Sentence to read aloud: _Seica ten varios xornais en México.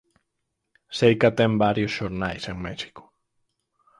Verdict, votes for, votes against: accepted, 4, 0